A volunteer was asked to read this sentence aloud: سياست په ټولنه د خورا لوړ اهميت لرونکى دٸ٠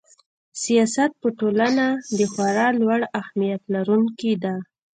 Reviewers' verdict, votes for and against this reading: rejected, 0, 2